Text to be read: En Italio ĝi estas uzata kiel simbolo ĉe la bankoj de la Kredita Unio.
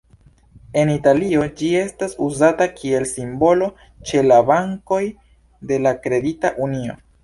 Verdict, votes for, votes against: accepted, 2, 0